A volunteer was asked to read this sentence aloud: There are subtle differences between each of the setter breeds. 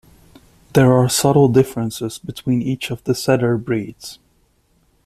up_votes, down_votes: 2, 0